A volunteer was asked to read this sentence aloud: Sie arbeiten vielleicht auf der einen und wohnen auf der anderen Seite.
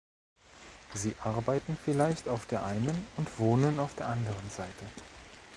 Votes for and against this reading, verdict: 2, 0, accepted